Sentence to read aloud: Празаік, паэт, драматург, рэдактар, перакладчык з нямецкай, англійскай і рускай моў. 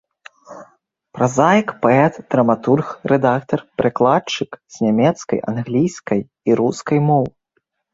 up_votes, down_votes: 2, 0